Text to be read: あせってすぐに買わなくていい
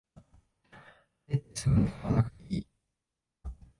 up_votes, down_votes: 0, 2